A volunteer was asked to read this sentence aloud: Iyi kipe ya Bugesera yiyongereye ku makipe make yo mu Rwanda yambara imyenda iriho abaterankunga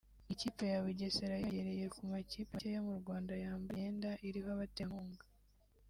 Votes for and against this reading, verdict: 0, 2, rejected